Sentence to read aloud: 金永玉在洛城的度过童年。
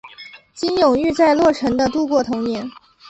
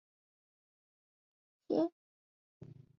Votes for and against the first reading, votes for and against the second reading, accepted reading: 3, 0, 0, 5, first